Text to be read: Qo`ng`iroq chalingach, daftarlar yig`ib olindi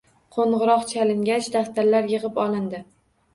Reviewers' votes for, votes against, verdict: 2, 0, accepted